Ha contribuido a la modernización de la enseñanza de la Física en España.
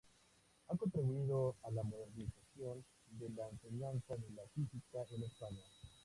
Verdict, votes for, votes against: accepted, 2, 0